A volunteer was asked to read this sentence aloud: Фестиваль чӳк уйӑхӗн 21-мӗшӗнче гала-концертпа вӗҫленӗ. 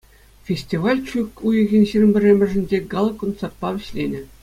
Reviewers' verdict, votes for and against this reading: rejected, 0, 2